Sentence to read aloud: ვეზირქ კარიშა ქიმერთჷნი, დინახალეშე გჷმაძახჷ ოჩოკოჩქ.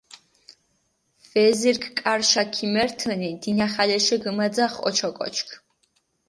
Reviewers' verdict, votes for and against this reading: accepted, 4, 0